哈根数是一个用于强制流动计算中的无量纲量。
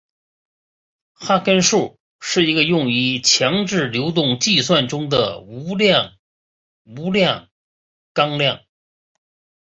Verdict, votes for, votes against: rejected, 0, 3